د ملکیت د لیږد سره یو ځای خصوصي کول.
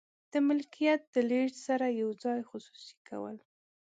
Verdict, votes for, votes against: accepted, 2, 0